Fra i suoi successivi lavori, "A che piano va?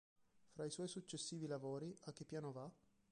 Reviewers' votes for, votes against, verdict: 2, 3, rejected